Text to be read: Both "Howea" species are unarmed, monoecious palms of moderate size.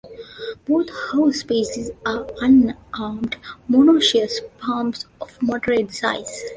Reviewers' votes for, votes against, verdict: 0, 2, rejected